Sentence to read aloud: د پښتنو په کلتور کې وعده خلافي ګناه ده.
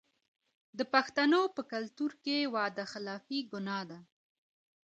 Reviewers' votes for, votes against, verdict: 2, 0, accepted